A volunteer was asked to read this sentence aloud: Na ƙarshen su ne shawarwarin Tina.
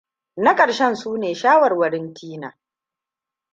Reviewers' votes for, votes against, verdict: 2, 0, accepted